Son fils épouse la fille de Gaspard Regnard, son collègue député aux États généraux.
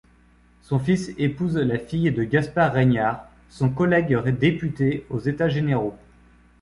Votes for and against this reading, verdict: 1, 2, rejected